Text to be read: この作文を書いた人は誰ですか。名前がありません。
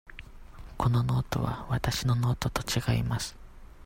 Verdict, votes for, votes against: rejected, 0, 2